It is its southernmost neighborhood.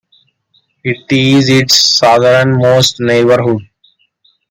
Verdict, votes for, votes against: accepted, 2, 1